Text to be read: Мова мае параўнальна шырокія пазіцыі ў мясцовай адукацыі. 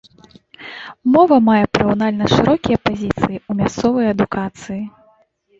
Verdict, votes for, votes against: rejected, 0, 2